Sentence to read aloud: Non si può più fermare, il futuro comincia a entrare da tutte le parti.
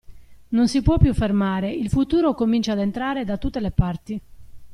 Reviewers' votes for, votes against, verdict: 2, 0, accepted